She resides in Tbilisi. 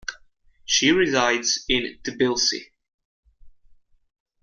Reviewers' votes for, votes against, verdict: 2, 0, accepted